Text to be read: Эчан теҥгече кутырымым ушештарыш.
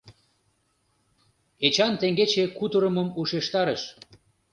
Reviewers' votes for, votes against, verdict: 2, 0, accepted